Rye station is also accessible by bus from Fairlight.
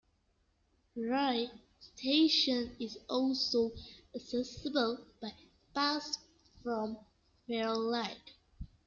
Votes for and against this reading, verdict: 0, 2, rejected